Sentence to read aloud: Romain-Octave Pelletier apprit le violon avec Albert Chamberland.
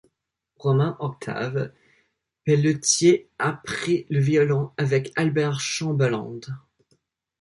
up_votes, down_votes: 1, 2